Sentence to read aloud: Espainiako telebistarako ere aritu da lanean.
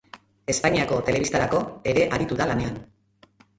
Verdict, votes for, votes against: accepted, 2, 0